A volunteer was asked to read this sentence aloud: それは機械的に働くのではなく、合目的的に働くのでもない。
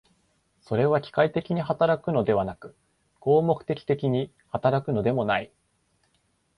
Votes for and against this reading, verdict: 2, 0, accepted